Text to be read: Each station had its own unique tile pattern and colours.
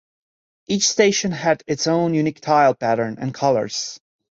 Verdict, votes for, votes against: accepted, 2, 0